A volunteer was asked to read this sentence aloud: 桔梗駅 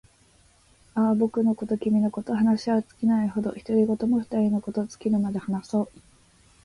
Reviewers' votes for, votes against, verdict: 0, 3, rejected